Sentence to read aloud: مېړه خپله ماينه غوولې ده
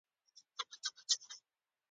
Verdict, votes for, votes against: rejected, 0, 2